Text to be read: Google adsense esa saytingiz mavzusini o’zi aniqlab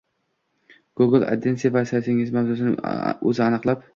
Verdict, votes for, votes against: rejected, 0, 2